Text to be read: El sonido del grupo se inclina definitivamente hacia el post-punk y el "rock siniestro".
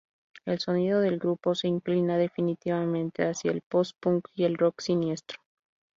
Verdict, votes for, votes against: rejected, 0, 2